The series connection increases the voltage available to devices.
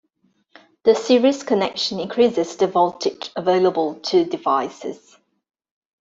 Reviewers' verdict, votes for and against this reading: accepted, 2, 0